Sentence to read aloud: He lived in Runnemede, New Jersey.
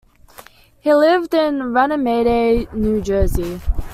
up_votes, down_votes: 2, 1